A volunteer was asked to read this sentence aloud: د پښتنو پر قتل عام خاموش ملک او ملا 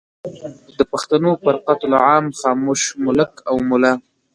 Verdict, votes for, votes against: accepted, 2, 0